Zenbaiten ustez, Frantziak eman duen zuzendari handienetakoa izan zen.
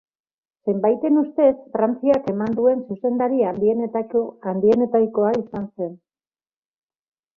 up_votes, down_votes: 0, 2